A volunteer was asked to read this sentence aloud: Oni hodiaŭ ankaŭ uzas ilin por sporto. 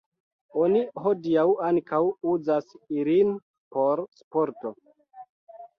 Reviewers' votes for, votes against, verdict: 2, 0, accepted